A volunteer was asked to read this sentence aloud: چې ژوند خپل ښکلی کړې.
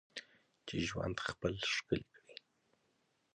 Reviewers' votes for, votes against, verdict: 2, 0, accepted